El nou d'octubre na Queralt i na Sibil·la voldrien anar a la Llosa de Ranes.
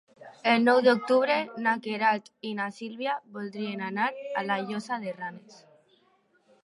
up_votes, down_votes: 1, 2